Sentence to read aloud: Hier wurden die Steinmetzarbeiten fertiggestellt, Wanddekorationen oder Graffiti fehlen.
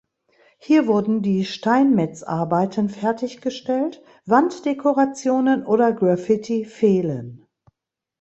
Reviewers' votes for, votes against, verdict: 2, 0, accepted